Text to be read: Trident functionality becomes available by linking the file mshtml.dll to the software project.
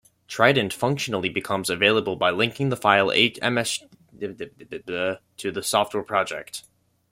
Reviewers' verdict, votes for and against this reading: rejected, 0, 2